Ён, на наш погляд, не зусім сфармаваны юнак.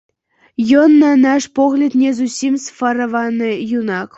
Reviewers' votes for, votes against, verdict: 0, 2, rejected